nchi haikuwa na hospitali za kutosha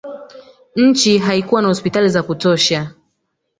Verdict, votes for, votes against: rejected, 2, 3